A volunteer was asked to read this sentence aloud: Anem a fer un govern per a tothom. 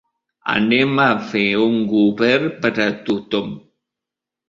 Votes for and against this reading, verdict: 2, 0, accepted